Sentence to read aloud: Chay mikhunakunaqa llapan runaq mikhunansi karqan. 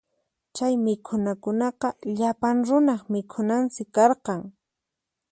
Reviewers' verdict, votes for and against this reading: accepted, 4, 0